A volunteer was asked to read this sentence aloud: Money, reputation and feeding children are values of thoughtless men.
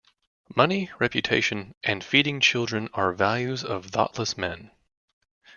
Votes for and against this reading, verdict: 2, 0, accepted